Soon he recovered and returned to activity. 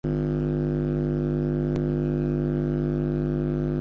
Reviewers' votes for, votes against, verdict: 0, 4, rejected